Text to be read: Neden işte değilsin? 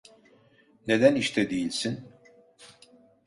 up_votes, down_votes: 2, 0